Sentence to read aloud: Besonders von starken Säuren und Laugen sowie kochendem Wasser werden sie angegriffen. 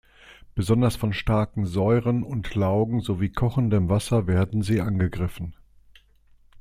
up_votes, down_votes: 2, 0